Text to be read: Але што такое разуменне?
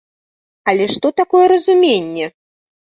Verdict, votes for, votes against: accepted, 3, 0